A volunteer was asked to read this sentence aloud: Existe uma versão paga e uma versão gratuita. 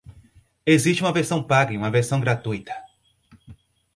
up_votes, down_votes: 4, 0